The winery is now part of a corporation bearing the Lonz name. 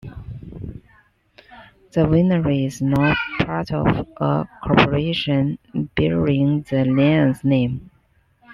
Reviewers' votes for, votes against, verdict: 0, 2, rejected